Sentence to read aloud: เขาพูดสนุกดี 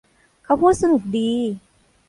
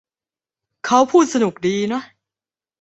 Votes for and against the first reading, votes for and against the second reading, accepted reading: 2, 0, 1, 2, first